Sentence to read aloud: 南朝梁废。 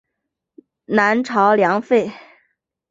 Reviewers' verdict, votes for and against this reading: accepted, 6, 0